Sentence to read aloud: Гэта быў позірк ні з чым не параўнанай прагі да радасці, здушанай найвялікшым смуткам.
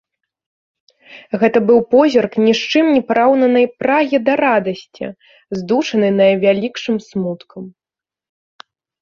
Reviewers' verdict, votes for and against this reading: accepted, 2, 0